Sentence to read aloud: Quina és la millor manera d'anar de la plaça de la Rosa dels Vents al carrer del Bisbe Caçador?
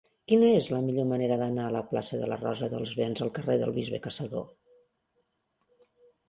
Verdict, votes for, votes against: rejected, 0, 2